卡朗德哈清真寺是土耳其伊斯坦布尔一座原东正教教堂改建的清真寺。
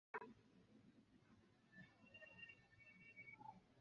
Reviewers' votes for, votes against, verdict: 0, 2, rejected